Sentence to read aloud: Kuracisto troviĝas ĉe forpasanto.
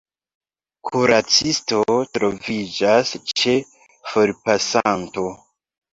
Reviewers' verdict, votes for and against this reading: accepted, 2, 0